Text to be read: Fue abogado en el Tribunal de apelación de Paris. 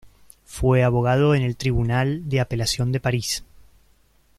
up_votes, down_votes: 2, 0